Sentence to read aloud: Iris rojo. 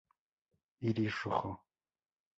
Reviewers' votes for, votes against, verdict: 4, 0, accepted